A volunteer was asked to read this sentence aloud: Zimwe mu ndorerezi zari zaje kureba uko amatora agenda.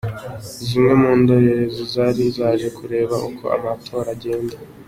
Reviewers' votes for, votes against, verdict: 2, 1, accepted